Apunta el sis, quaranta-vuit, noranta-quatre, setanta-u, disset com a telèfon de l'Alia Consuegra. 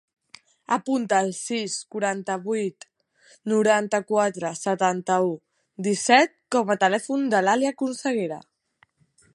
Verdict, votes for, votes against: rejected, 1, 2